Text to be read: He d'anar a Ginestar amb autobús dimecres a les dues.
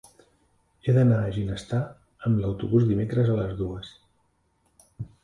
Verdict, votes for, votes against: accepted, 3, 2